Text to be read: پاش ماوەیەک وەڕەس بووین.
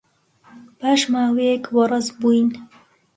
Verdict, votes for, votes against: accepted, 2, 0